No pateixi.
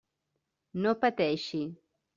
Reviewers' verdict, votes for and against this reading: accepted, 3, 0